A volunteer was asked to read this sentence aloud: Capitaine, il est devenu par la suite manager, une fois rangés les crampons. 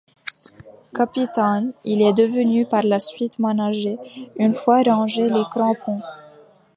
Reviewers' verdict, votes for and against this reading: rejected, 0, 2